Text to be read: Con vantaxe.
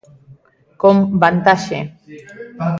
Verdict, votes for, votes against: rejected, 0, 2